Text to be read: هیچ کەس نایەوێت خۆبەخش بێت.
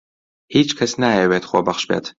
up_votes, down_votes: 2, 0